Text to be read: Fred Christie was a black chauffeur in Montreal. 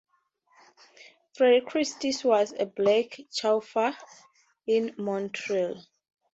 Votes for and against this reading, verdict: 0, 2, rejected